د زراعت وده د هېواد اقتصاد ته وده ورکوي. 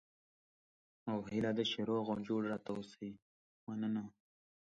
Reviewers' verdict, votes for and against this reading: rejected, 0, 2